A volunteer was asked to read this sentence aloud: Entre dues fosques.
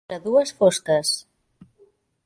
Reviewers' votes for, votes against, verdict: 0, 2, rejected